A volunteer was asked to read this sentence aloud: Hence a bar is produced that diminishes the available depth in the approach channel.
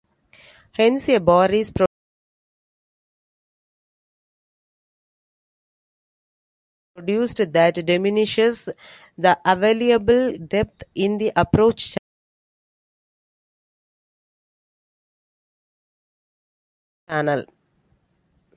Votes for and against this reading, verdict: 0, 2, rejected